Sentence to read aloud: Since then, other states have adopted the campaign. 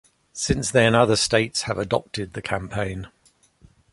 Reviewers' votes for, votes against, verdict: 2, 0, accepted